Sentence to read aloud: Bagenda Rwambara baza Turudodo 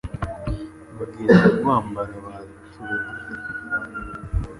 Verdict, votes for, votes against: rejected, 1, 2